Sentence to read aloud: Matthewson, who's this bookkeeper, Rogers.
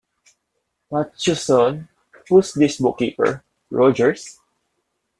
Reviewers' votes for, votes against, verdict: 0, 2, rejected